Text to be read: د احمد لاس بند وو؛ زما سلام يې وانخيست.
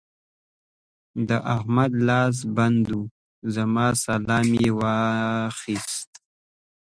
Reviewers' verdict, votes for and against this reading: rejected, 1, 2